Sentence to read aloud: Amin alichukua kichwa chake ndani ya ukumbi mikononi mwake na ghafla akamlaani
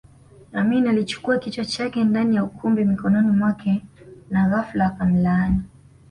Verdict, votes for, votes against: accepted, 2, 0